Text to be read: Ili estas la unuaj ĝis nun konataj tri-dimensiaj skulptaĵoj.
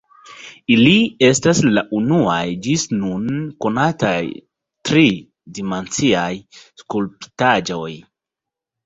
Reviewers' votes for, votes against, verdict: 0, 2, rejected